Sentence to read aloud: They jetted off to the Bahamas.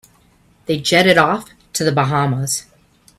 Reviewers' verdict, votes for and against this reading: accepted, 2, 0